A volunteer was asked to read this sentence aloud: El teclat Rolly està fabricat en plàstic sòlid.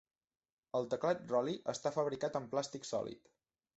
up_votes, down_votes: 3, 0